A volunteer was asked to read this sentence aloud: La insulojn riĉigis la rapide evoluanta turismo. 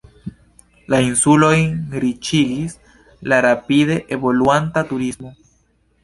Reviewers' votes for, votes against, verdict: 0, 2, rejected